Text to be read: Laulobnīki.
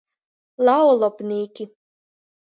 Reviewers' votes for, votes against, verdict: 0, 2, rejected